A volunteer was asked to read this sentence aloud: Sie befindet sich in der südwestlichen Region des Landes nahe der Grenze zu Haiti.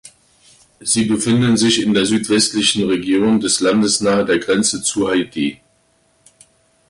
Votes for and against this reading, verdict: 0, 2, rejected